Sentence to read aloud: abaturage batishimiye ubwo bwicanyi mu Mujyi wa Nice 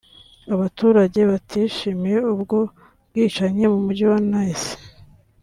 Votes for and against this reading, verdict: 2, 0, accepted